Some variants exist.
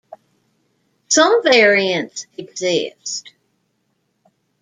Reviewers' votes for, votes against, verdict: 2, 0, accepted